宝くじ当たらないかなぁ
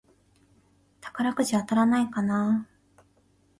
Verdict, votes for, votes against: accepted, 2, 0